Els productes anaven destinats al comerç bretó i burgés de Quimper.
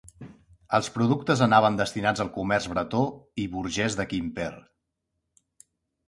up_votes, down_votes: 2, 0